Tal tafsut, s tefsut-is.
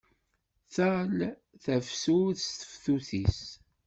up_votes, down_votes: 1, 2